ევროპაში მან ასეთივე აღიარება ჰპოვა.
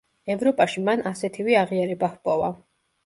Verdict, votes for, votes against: accepted, 2, 0